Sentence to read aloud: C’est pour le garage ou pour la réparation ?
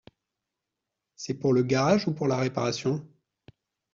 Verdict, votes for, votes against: accepted, 2, 0